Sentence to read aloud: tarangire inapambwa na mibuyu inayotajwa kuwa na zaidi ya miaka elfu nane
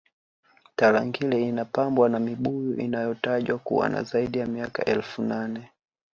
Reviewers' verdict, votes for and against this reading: accepted, 2, 0